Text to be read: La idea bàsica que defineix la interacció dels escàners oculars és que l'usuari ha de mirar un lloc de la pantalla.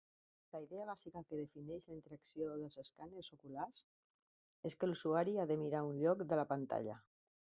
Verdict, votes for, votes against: rejected, 1, 2